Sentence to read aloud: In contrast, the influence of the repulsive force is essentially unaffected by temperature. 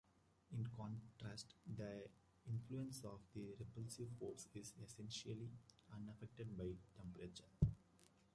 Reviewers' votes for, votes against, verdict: 0, 2, rejected